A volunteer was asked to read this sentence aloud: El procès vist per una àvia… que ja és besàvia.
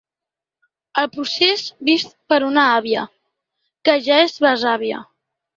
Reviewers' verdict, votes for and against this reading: accepted, 2, 0